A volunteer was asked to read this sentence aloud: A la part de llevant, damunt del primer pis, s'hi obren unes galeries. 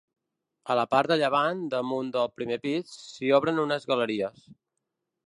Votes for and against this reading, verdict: 3, 0, accepted